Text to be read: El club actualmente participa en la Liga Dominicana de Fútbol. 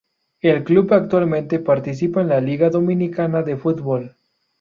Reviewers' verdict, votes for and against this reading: rejected, 0, 2